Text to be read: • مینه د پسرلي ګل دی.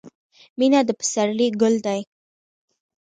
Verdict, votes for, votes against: accepted, 2, 0